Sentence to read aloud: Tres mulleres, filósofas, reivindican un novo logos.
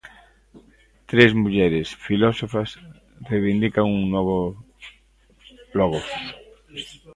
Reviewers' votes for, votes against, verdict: 0, 2, rejected